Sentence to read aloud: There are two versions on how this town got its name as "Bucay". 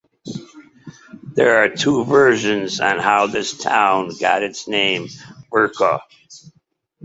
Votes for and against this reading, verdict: 2, 0, accepted